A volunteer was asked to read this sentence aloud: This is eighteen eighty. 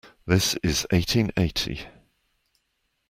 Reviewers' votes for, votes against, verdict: 2, 0, accepted